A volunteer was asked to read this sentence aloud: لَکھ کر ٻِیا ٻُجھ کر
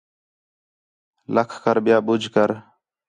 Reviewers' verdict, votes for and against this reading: accepted, 4, 0